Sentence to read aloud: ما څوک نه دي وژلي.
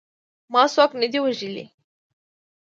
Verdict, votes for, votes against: accepted, 2, 0